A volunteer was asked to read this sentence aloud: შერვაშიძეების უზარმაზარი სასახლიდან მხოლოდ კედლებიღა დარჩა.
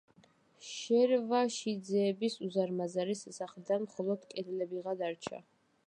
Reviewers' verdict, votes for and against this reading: rejected, 0, 2